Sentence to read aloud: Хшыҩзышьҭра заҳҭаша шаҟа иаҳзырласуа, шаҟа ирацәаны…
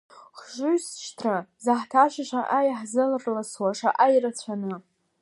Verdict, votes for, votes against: rejected, 0, 2